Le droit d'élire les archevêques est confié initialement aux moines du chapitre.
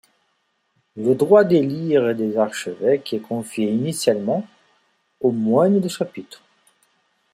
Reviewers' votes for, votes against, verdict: 2, 0, accepted